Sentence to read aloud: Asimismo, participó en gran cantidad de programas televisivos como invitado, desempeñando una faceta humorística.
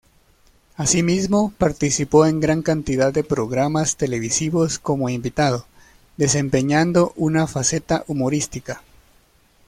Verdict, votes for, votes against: accepted, 2, 0